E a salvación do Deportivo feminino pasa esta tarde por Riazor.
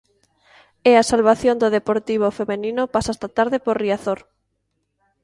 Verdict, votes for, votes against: rejected, 0, 2